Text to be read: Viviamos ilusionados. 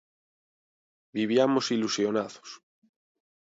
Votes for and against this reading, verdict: 2, 0, accepted